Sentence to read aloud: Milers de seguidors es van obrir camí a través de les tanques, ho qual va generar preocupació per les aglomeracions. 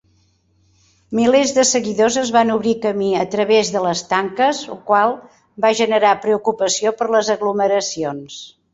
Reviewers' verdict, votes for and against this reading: accepted, 3, 0